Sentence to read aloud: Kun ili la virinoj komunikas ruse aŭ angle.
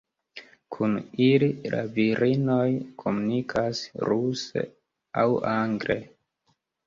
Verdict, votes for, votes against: accepted, 2, 1